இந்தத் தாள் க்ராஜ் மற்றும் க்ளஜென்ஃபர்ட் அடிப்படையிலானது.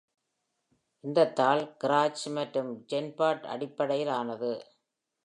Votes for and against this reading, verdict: 1, 2, rejected